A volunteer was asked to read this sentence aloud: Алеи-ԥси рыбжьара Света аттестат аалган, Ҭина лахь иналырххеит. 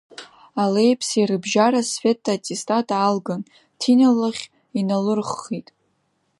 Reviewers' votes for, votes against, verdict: 0, 2, rejected